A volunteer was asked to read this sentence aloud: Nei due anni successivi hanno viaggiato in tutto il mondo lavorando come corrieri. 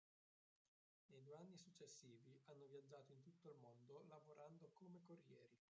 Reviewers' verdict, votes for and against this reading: rejected, 0, 3